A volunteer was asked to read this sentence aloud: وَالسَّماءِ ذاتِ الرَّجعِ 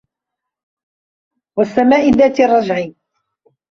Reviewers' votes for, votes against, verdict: 1, 2, rejected